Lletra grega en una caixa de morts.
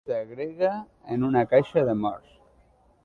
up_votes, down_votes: 0, 2